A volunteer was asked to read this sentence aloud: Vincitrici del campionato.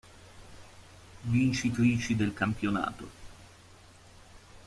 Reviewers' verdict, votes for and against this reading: rejected, 1, 2